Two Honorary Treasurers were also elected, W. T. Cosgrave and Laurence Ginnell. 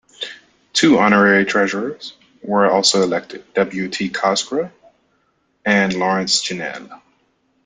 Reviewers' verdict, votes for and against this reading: accepted, 2, 0